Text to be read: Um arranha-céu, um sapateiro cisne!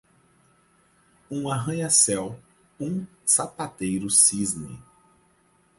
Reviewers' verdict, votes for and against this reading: accepted, 4, 0